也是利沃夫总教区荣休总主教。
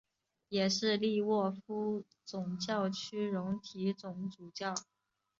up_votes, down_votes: 3, 2